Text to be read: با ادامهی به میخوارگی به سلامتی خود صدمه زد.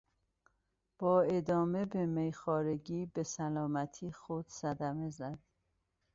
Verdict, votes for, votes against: rejected, 1, 2